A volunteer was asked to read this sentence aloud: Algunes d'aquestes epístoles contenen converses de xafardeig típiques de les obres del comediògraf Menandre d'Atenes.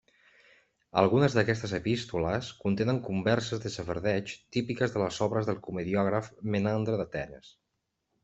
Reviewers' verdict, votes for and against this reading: accepted, 2, 0